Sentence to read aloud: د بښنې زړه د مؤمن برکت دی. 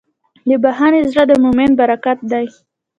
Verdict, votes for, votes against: rejected, 0, 2